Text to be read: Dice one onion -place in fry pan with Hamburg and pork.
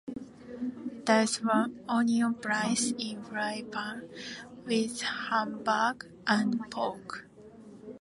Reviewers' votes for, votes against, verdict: 2, 0, accepted